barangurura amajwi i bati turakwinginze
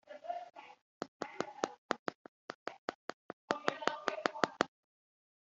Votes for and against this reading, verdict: 0, 2, rejected